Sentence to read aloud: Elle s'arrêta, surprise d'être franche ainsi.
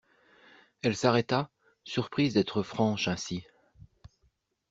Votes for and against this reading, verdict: 2, 0, accepted